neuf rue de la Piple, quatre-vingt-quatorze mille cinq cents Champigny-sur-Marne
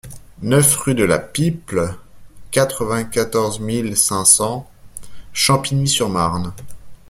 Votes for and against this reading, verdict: 2, 0, accepted